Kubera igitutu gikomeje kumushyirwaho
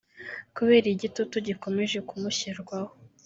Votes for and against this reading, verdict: 1, 2, rejected